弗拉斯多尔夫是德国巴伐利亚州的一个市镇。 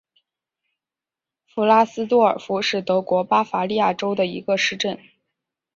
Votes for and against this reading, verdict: 4, 0, accepted